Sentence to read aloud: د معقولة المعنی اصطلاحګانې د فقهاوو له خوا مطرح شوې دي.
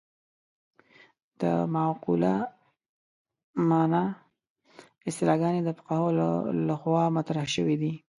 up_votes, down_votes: 0, 2